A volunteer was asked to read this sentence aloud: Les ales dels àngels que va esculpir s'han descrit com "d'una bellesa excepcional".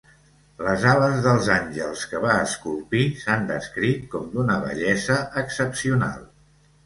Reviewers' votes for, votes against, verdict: 2, 0, accepted